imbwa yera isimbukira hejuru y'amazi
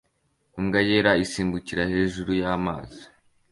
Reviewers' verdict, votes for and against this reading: accepted, 2, 0